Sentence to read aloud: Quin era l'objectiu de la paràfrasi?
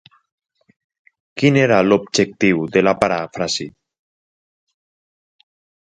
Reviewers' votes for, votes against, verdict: 6, 0, accepted